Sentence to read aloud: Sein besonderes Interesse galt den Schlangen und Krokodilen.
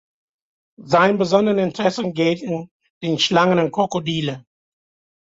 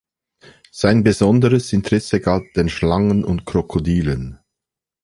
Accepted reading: second